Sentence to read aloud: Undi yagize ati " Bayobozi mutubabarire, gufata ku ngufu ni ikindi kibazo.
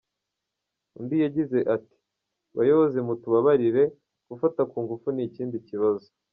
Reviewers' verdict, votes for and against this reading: accepted, 2, 0